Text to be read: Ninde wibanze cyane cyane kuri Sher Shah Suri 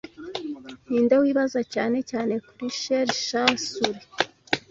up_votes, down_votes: 0, 2